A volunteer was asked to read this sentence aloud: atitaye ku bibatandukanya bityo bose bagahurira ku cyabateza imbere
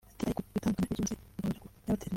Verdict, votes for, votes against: rejected, 0, 2